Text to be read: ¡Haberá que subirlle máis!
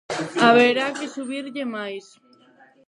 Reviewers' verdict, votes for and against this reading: rejected, 2, 4